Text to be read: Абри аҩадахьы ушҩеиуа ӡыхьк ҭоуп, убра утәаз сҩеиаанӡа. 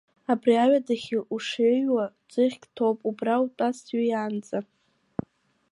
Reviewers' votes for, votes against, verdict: 2, 1, accepted